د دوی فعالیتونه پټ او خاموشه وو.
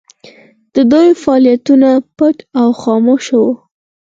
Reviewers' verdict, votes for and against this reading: accepted, 4, 2